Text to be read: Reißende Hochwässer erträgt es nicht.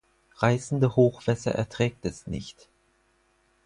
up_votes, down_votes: 4, 0